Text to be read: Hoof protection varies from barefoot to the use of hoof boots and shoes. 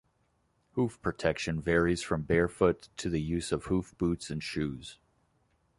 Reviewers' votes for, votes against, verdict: 2, 0, accepted